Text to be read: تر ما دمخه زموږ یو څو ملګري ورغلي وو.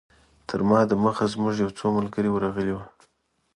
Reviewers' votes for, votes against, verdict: 0, 2, rejected